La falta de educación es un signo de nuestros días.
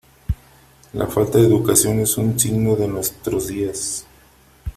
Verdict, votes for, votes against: accepted, 2, 0